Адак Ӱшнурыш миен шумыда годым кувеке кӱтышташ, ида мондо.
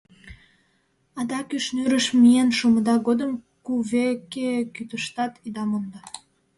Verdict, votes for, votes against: rejected, 0, 2